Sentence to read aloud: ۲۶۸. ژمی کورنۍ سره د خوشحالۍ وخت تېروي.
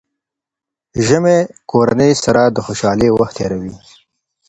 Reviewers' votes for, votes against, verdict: 0, 2, rejected